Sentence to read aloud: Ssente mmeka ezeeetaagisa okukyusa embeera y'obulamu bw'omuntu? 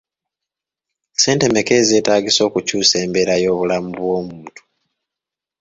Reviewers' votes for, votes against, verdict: 3, 0, accepted